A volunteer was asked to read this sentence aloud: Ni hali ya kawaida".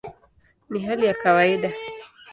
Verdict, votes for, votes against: accepted, 2, 0